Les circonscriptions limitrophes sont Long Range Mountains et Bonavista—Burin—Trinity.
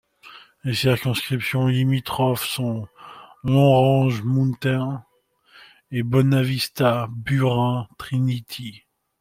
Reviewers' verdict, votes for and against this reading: accepted, 2, 0